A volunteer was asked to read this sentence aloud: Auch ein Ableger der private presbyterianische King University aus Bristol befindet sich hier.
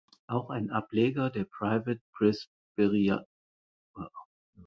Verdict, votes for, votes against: rejected, 0, 4